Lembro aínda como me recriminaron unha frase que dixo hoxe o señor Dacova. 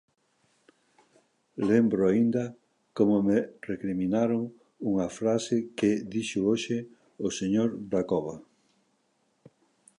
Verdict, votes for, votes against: accepted, 2, 0